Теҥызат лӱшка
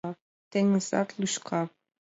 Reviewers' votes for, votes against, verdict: 2, 0, accepted